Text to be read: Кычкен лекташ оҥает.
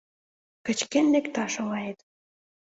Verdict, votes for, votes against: accepted, 2, 0